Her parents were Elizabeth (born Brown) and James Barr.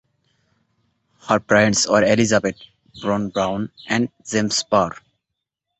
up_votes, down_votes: 0, 2